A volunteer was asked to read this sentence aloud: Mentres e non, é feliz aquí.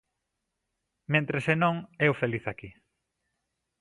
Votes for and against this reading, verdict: 0, 2, rejected